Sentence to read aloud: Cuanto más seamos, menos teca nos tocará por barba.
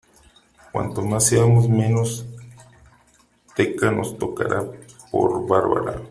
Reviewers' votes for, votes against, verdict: 0, 2, rejected